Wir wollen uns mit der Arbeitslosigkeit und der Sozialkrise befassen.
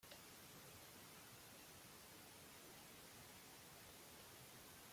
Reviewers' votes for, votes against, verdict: 0, 2, rejected